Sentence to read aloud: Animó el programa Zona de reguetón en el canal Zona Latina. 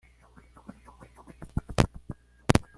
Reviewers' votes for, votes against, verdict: 1, 2, rejected